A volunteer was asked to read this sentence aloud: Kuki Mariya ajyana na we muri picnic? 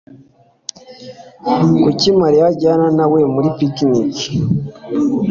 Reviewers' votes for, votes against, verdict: 2, 0, accepted